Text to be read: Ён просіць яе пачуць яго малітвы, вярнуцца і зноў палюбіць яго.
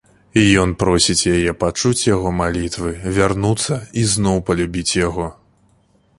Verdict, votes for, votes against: accepted, 2, 1